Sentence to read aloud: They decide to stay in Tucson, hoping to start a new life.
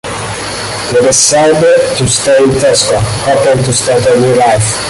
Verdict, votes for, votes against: rejected, 0, 2